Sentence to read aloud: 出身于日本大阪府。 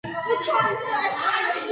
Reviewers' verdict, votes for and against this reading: rejected, 0, 7